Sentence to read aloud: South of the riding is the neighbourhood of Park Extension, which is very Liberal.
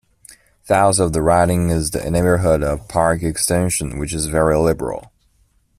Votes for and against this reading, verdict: 1, 2, rejected